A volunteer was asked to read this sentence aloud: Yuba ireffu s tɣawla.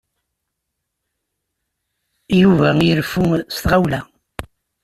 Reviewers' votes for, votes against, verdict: 2, 0, accepted